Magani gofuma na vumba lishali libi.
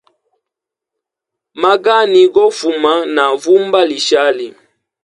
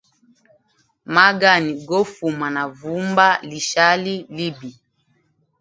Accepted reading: second